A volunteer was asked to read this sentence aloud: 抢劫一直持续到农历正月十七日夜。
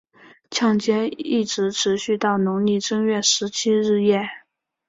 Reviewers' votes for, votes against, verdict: 3, 0, accepted